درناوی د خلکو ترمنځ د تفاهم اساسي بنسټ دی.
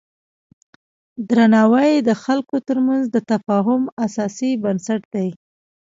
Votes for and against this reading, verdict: 0, 2, rejected